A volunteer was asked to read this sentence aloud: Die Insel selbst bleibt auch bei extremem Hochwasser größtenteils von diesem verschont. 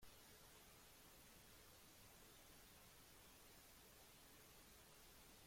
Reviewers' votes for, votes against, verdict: 1, 2, rejected